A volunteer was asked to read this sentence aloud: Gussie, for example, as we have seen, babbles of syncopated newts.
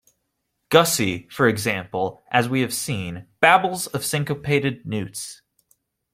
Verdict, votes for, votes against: accepted, 2, 0